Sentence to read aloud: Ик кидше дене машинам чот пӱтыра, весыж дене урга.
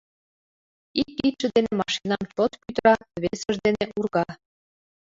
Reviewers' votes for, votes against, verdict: 1, 2, rejected